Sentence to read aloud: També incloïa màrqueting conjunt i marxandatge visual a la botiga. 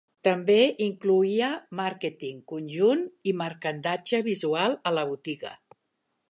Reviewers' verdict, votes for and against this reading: rejected, 0, 2